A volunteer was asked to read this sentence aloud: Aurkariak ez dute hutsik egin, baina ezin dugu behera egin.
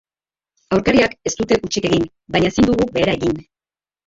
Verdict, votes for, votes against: rejected, 0, 2